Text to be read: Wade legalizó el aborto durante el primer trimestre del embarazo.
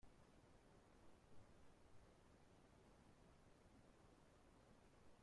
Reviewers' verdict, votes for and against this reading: rejected, 0, 2